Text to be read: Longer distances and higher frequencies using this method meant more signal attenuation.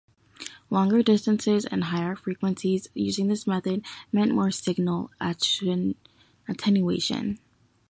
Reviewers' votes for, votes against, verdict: 1, 2, rejected